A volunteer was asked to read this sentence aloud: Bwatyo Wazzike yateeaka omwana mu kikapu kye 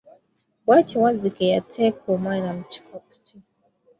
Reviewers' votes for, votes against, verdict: 1, 2, rejected